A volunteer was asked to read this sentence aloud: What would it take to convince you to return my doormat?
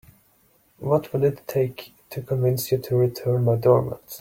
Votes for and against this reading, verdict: 1, 2, rejected